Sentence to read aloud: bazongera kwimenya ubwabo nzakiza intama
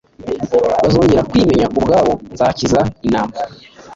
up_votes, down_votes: 2, 0